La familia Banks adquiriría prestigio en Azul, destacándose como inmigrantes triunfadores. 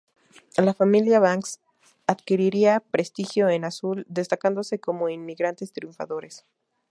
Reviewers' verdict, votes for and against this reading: rejected, 0, 2